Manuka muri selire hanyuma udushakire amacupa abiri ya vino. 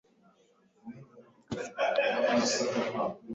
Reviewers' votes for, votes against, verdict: 1, 2, rejected